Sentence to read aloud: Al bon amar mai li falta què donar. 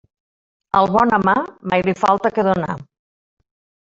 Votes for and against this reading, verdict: 1, 2, rejected